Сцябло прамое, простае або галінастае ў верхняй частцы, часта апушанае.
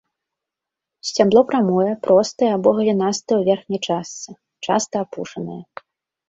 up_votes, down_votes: 2, 0